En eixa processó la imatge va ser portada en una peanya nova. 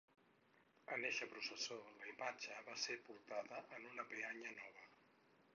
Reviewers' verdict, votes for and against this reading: rejected, 0, 4